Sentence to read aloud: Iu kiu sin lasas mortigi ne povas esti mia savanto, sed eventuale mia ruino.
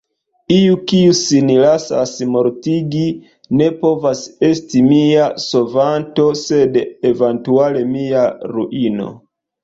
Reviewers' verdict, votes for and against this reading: rejected, 1, 2